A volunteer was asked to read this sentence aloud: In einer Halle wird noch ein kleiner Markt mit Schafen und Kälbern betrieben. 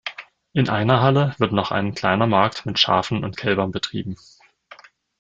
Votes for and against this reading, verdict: 2, 0, accepted